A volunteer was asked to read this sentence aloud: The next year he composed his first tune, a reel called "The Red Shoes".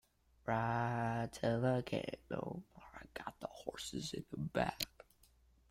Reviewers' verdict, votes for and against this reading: rejected, 0, 2